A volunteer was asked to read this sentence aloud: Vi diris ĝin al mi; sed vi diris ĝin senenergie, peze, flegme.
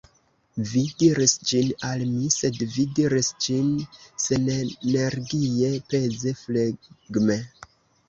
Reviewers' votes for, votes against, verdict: 0, 2, rejected